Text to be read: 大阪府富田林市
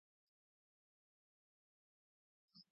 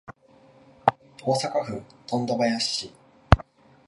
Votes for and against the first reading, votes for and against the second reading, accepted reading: 0, 3, 2, 0, second